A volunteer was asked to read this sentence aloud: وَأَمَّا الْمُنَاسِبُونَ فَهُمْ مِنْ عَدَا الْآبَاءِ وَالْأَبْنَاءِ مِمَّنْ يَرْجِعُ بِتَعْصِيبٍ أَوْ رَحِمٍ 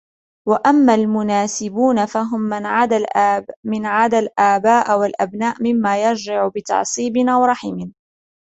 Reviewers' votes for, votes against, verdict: 2, 0, accepted